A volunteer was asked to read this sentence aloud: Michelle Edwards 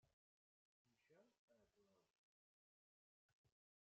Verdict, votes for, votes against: rejected, 0, 2